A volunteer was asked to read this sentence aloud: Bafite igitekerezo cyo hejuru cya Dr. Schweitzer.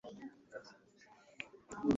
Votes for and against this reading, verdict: 1, 2, rejected